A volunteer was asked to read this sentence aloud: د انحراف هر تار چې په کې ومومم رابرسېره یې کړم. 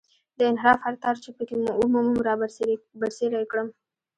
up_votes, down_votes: 1, 2